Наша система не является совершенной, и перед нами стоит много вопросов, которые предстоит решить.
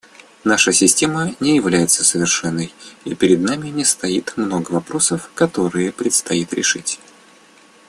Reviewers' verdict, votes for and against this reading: rejected, 0, 2